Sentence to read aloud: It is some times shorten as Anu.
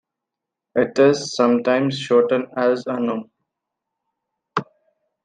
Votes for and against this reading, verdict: 1, 2, rejected